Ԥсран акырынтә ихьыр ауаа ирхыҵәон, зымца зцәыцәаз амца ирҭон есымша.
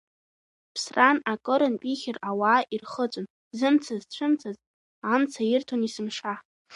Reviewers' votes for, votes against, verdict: 1, 2, rejected